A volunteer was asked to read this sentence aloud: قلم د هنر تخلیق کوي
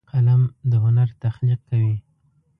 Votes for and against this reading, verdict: 2, 0, accepted